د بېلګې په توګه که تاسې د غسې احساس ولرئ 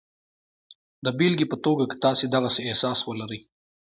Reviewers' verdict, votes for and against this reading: accepted, 2, 1